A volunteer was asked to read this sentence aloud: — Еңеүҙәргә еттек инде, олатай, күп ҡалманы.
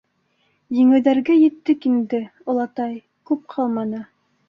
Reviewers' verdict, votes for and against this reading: accepted, 2, 0